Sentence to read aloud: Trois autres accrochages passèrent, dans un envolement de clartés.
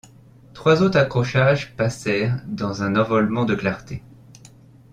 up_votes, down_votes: 1, 2